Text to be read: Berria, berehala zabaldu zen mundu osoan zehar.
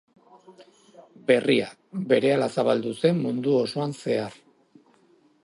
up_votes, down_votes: 2, 0